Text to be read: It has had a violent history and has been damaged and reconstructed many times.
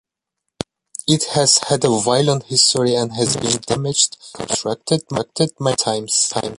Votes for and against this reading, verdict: 0, 2, rejected